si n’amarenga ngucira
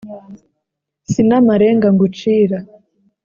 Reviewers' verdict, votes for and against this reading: accepted, 2, 0